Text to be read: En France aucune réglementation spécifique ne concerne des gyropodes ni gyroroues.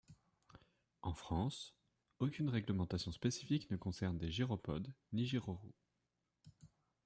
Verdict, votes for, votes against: accepted, 2, 0